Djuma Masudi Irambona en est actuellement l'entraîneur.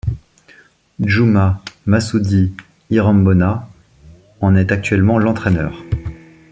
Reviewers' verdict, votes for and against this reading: accepted, 2, 0